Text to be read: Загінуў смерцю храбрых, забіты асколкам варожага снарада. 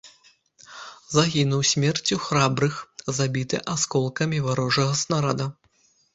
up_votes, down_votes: 1, 2